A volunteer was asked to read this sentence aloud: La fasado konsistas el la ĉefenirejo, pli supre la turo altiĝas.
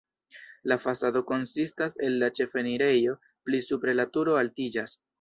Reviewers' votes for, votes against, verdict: 2, 1, accepted